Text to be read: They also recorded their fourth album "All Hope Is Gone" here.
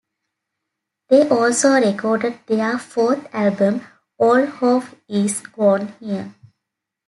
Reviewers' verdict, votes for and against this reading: accepted, 2, 0